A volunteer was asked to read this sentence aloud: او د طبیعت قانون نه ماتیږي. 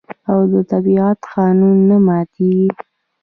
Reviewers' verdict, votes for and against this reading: rejected, 1, 2